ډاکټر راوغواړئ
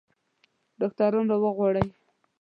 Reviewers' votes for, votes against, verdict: 0, 2, rejected